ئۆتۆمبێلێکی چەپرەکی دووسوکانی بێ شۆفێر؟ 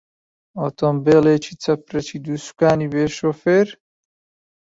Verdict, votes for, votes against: accepted, 2, 0